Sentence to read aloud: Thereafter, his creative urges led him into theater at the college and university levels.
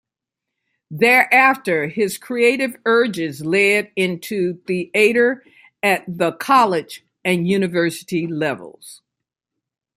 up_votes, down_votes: 1, 2